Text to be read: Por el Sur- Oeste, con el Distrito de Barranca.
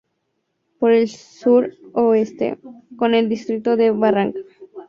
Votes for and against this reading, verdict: 2, 0, accepted